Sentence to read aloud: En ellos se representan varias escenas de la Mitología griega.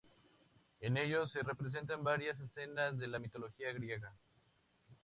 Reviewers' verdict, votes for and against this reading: accepted, 2, 0